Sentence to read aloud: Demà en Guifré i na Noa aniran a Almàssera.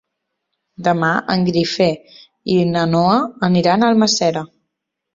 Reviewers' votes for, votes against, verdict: 1, 2, rejected